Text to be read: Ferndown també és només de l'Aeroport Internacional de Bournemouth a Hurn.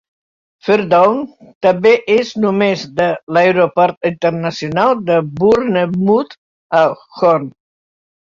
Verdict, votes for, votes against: rejected, 2, 3